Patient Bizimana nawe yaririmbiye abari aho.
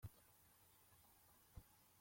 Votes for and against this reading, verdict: 0, 2, rejected